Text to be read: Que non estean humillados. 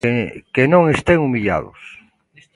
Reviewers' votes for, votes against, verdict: 1, 3, rejected